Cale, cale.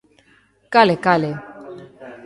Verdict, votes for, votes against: accepted, 2, 0